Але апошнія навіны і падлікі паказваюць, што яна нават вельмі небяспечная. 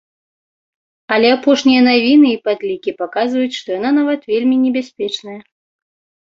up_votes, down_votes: 2, 0